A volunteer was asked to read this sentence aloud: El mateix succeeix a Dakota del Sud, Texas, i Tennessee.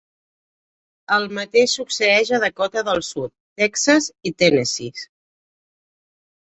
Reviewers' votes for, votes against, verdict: 0, 2, rejected